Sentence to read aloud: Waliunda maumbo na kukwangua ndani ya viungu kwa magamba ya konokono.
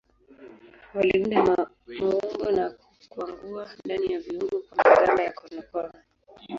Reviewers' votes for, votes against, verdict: 2, 0, accepted